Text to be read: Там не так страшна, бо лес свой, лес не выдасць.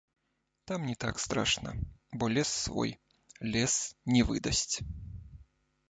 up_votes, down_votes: 0, 2